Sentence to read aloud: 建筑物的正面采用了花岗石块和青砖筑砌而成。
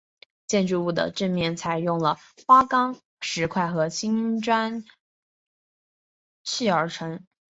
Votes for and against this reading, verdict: 1, 2, rejected